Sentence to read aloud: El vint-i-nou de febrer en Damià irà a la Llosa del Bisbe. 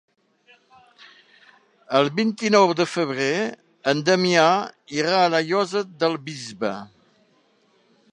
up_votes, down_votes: 3, 0